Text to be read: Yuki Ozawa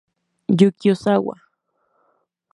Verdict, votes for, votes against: accepted, 2, 0